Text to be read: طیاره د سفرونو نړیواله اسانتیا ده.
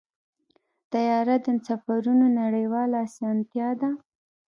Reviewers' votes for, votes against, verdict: 2, 0, accepted